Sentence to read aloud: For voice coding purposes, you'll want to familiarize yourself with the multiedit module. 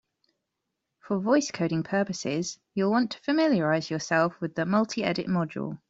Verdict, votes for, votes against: accepted, 2, 0